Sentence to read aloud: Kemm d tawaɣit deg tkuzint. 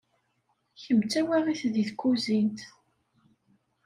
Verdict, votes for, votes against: accepted, 2, 0